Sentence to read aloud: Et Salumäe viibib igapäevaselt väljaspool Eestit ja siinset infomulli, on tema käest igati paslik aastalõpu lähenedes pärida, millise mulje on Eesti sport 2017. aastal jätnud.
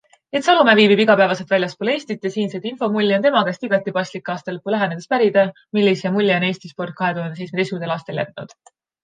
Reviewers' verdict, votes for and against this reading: rejected, 0, 2